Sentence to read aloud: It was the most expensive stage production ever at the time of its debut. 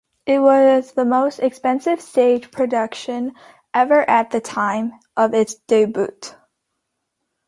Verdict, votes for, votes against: rejected, 0, 2